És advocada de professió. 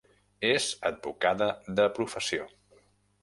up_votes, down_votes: 2, 0